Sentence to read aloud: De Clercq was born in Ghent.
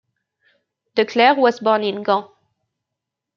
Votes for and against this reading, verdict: 0, 2, rejected